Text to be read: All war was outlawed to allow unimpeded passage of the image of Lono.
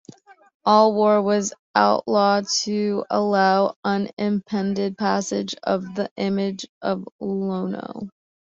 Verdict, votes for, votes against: rejected, 0, 2